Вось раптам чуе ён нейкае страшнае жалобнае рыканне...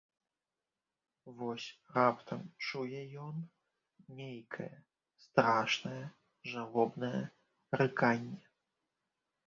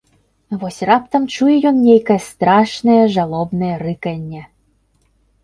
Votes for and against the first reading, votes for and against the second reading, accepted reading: 1, 2, 2, 0, second